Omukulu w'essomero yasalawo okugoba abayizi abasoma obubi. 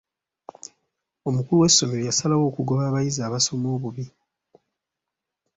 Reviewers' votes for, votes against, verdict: 2, 0, accepted